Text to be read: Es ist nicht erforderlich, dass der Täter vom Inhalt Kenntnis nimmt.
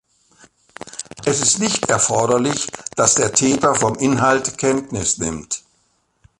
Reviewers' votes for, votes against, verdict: 2, 0, accepted